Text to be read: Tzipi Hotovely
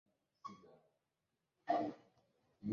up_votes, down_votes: 0, 2